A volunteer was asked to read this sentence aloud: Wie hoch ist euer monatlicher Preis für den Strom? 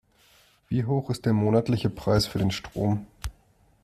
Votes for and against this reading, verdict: 1, 2, rejected